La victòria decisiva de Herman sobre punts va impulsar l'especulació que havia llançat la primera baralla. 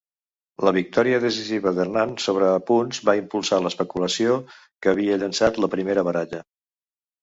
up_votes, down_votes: 0, 2